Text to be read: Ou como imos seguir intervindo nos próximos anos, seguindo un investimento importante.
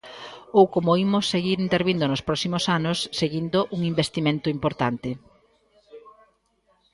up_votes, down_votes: 2, 0